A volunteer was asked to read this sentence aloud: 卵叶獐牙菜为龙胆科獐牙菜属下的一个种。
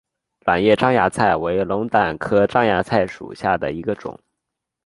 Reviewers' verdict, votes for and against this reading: accepted, 6, 0